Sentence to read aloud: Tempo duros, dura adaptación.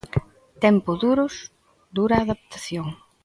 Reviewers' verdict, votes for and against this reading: accepted, 2, 0